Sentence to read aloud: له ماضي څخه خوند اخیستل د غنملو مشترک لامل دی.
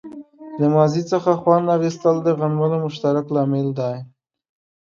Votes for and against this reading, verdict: 2, 0, accepted